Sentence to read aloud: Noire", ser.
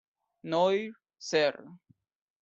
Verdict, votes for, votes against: rejected, 0, 2